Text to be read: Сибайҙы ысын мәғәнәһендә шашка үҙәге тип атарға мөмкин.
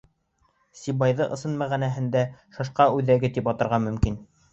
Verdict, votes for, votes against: accepted, 3, 2